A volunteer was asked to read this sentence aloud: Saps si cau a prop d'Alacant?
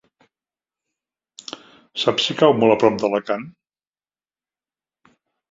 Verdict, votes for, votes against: rejected, 0, 3